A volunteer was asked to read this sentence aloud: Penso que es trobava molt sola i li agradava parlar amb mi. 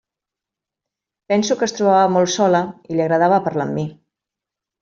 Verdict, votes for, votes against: accepted, 3, 0